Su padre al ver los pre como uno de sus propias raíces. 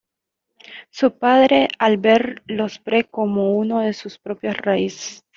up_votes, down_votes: 2, 1